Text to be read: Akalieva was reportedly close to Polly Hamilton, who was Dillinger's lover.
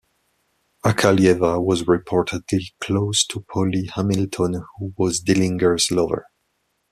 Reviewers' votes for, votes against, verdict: 2, 1, accepted